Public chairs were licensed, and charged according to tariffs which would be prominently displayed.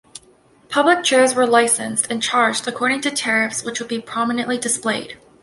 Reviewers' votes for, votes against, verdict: 2, 0, accepted